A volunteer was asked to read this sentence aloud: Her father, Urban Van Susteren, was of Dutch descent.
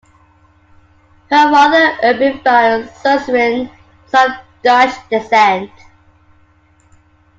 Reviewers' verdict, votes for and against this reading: rejected, 0, 2